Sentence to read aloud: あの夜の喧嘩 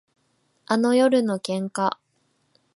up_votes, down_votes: 2, 0